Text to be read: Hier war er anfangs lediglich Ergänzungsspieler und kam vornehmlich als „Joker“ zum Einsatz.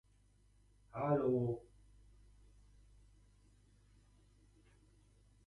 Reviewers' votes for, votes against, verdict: 0, 2, rejected